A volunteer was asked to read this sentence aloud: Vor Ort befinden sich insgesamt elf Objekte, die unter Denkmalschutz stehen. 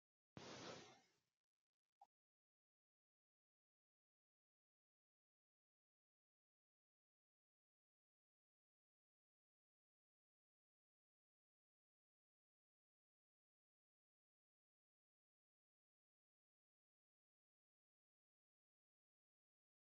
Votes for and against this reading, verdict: 0, 2, rejected